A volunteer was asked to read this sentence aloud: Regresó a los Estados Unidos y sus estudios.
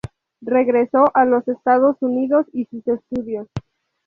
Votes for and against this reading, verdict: 2, 0, accepted